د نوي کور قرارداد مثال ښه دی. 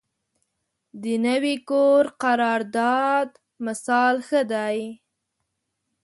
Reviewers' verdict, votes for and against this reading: accepted, 2, 0